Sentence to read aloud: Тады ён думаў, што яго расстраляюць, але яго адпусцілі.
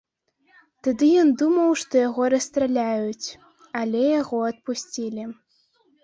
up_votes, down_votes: 1, 2